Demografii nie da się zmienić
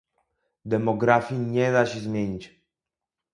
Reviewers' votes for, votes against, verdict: 2, 0, accepted